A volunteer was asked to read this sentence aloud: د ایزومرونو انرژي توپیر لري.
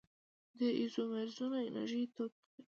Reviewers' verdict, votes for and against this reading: accepted, 2, 0